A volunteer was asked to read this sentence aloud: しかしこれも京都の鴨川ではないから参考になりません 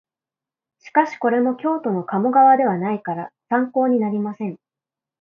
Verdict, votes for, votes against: accepted, 4, 1